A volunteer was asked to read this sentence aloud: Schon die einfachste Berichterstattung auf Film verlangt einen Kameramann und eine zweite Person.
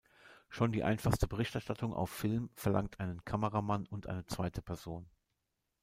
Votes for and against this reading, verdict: 2, 0, accepted